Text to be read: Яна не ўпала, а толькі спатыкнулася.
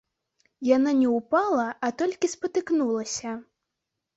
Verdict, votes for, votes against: accepted, 3, 0